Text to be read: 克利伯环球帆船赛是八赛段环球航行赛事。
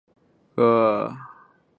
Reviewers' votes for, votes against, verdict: 0, 2, rejected